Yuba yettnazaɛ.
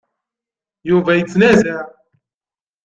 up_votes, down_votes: 2, 0